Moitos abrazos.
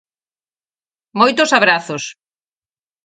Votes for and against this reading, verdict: 4, 0, accepted